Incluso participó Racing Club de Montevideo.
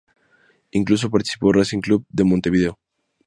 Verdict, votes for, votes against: rejected, 2, 2